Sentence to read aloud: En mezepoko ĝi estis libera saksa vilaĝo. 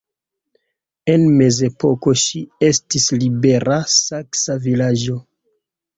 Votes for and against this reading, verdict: 0, 2, rejected